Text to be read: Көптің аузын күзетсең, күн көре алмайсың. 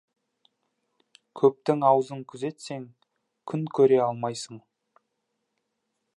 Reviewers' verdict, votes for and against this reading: rejected, 1, 2